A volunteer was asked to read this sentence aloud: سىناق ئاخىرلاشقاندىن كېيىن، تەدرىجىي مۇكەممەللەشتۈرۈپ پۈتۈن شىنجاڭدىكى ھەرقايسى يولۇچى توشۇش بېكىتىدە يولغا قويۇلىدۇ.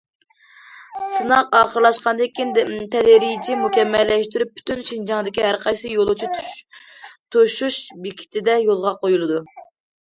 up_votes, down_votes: 0, 2